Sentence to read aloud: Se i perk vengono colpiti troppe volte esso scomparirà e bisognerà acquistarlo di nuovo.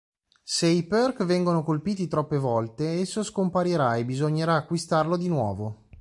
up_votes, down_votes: 2, 0